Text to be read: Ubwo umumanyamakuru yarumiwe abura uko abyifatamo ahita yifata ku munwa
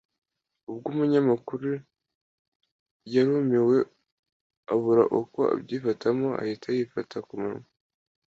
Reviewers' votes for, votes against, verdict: 1, 2, rejected